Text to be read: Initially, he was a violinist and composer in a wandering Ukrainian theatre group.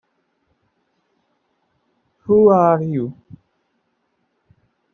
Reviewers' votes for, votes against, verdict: 0, 2, rejected